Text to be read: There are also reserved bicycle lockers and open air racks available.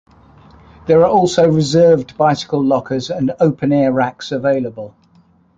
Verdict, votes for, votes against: accepted, 2, 0